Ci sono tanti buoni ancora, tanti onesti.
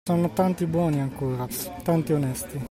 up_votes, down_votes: 2, 1